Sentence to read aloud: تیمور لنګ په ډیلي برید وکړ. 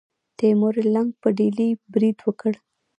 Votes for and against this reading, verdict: 1, 2, rejected